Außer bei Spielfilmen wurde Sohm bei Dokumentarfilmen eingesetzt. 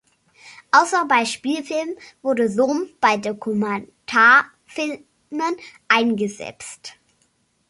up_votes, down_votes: 1, 2